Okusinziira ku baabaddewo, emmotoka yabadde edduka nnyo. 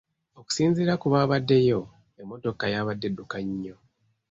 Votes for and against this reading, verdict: 2, 0, accepted